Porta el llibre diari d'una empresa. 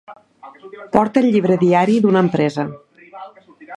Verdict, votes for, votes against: rejected, 1, 2